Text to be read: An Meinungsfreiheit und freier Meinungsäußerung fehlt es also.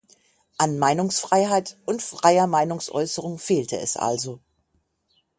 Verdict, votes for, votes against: rejected, 3, 6